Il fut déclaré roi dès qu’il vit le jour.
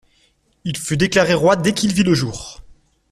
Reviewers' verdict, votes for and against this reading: accepted, 2, 0